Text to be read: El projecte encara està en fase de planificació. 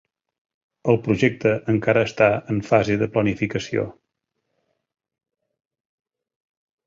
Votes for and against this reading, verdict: 2, 0, accepted